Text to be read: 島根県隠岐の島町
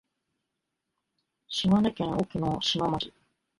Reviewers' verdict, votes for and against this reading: rejected, 1, 2